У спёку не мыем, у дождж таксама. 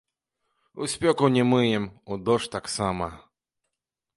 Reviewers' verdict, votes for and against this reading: accepted, 2, 0